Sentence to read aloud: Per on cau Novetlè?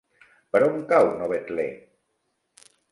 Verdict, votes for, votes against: accepted, 2, 0